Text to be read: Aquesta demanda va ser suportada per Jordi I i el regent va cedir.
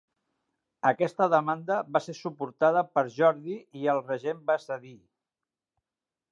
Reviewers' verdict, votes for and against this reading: rejected, 0, 2